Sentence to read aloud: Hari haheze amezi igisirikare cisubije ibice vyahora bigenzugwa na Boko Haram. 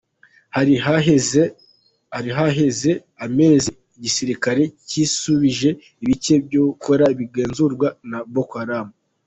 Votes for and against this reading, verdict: 2, 1, accepted